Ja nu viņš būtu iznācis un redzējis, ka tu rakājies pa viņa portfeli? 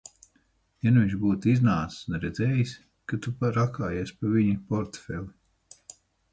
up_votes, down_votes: 6, 8